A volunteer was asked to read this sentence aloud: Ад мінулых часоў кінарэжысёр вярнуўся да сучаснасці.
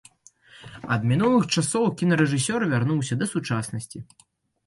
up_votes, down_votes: 2, 0